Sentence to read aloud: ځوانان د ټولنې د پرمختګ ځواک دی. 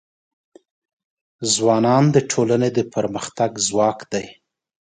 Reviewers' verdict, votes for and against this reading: accepted, 2, 0